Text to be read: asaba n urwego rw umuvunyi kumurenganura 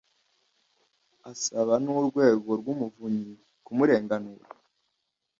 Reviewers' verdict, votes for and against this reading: accepted, 2, 0